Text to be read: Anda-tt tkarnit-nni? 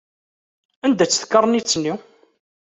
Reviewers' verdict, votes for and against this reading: accepted, 2, 0